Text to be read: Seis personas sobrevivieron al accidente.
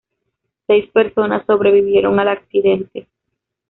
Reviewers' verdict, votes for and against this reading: accepted, 2, 1